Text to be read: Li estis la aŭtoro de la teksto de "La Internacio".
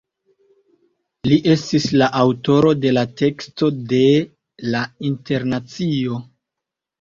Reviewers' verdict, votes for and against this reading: accepted, 2, 0